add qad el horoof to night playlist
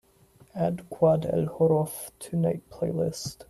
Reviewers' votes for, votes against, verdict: 2, 1, accepted